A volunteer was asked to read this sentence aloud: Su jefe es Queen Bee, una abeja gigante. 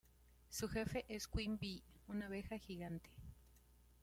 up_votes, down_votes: 2, 0